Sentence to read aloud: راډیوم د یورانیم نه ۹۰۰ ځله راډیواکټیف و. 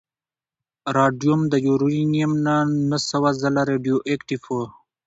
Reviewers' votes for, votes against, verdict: 0, 2, rejected